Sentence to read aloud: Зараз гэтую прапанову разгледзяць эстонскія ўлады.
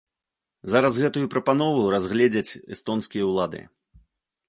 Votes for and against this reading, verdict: 2, 0, accepted